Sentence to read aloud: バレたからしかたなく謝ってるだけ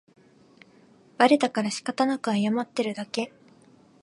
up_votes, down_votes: 2, 0